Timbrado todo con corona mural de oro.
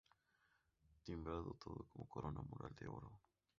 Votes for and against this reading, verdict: 0, 2, rejected